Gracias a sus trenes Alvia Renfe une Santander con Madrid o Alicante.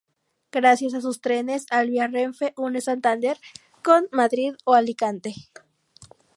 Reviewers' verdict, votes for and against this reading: accepted, 2, 0